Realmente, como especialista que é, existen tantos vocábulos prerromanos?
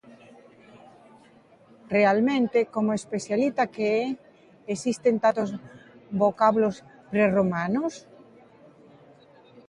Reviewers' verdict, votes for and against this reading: rejected, 0, 2